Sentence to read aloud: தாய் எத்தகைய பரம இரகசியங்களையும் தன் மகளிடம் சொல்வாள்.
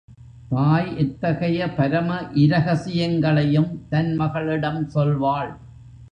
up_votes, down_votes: 2, 0